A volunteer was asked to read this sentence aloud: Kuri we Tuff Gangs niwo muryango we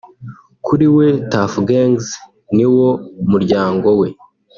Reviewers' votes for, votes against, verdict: 2, 0, accepted